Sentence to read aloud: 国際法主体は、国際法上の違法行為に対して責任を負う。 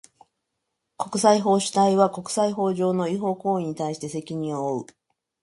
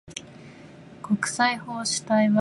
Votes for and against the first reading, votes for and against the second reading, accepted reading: 2, 0, 0, 4, first